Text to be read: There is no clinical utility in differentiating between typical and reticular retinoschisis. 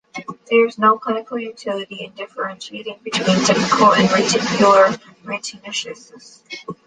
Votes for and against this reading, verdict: 1, 2, rejected